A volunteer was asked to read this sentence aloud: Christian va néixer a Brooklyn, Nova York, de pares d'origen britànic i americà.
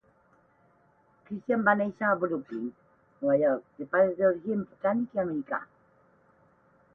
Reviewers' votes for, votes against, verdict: 4, 8, rejected